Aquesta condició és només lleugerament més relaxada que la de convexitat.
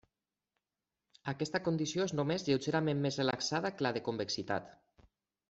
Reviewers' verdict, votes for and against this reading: accepted, 3, 0